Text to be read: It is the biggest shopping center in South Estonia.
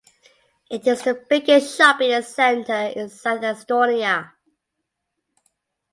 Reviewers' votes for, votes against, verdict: 2, 0, accepted